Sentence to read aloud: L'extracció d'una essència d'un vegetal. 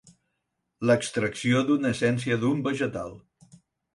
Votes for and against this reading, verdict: 4, 0, accepted